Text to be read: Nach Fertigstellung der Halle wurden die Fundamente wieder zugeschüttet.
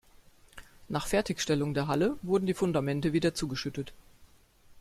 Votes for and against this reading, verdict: 2, 0, accepted